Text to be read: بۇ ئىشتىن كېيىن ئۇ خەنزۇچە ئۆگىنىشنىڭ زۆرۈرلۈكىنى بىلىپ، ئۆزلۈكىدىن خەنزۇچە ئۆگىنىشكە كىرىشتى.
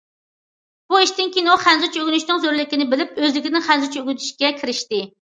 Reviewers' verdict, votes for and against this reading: rejected, 0, 2